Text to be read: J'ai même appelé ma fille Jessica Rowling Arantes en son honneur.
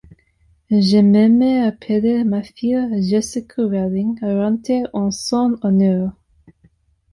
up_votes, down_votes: 2, 1